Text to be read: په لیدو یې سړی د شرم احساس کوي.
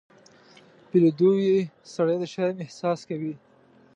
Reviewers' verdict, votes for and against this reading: accepted, 2, 0